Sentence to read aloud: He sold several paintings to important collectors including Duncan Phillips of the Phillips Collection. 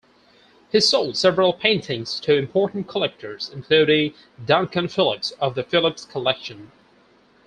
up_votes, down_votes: 4, 0